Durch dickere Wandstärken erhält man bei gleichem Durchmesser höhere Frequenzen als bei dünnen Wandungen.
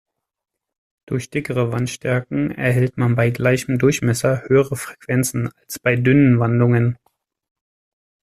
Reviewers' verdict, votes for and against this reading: accepted, 2, 0